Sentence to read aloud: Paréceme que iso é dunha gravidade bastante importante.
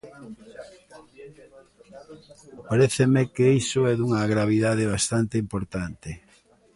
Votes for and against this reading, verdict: 2, 0, accepted